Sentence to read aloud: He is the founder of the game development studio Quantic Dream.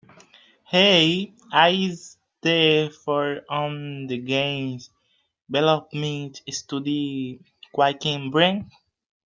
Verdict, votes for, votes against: rejected, 0, 2